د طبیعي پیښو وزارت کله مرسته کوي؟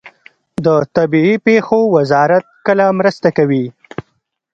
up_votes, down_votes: 2, 0